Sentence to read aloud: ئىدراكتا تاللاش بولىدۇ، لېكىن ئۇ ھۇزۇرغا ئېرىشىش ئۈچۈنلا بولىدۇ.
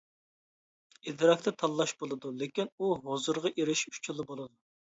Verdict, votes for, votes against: rejected, 0, 2